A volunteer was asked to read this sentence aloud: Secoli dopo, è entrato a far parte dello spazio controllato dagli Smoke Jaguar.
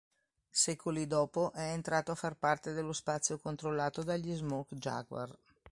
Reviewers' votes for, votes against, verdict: 2, 0, accepted